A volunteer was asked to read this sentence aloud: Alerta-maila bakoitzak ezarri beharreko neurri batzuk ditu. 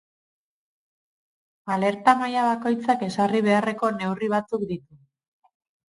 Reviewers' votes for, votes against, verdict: 2, 2, rejected